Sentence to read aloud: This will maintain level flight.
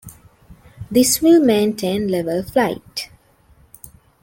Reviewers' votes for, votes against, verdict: 2, 1, accepted